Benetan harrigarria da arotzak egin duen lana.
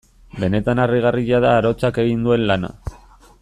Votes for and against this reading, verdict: 2, 0, accepted